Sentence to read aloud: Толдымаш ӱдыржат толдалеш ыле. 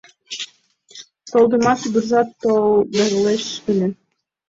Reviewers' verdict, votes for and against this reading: accepted, 2, 1